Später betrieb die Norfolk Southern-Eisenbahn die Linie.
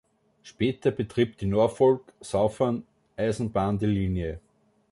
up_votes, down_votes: 2, 0